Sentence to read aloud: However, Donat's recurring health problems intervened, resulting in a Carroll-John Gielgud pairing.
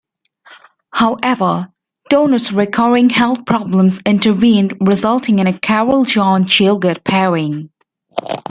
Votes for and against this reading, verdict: 2, 0, accepted